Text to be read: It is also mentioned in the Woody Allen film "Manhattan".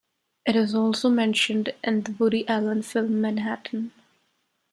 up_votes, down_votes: 2, 0